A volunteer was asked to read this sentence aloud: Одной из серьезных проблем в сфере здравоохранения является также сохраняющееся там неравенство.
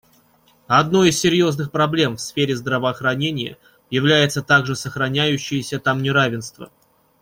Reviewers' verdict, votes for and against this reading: accepted, 2, 0